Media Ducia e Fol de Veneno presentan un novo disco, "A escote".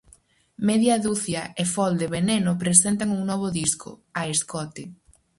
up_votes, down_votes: 4, 0